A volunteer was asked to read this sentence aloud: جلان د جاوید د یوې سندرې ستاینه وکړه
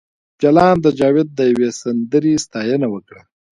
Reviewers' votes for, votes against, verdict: 0, 2, rejected